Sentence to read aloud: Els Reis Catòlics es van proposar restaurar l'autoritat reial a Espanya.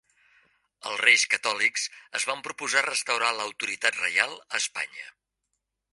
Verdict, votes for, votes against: accepted, 3, 1